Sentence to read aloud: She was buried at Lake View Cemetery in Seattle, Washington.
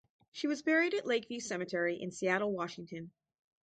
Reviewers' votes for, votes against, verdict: 4, 0, accepted